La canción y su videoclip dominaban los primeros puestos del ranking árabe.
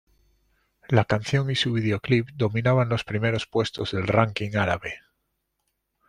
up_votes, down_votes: 2, 0